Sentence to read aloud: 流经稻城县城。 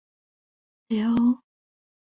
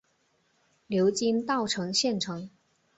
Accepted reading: second